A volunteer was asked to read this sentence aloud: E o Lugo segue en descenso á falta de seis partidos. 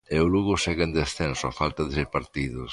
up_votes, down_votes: 1, 2